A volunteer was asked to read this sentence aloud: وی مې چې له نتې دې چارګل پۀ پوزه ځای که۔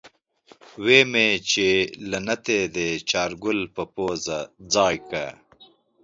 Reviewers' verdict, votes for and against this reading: accepted, 2, 0